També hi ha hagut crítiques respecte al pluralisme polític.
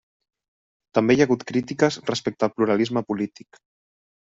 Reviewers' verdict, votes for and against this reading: accepted, 4, 0